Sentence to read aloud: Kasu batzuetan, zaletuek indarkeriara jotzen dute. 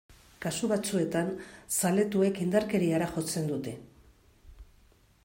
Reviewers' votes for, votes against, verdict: 2, 0, accepted